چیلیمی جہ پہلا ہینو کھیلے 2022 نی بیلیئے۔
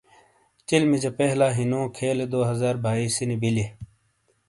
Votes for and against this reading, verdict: 0, 2, rejected